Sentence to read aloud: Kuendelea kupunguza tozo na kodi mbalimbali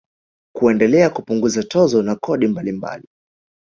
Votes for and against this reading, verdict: 1, 2, rejected